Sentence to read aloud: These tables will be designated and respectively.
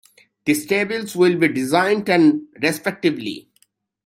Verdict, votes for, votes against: rejected, 0, 2